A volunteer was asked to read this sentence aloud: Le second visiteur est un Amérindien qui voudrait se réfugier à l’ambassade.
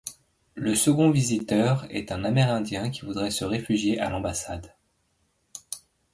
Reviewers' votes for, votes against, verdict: 2, 0, accepted